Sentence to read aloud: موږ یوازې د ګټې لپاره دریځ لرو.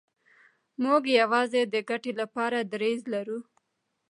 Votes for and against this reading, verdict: 1, 2, rejected